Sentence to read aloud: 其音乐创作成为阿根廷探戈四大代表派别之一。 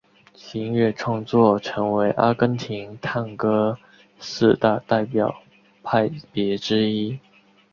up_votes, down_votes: 2, 0